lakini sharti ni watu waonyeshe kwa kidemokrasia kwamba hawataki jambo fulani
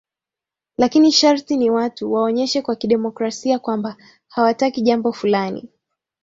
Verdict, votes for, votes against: accepted, 2, 0